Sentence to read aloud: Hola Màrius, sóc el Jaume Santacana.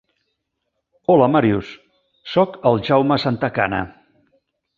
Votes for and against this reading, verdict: 3, 0, accepted